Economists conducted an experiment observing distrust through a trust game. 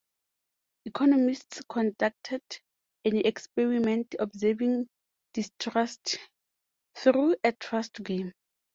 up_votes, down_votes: 4, 0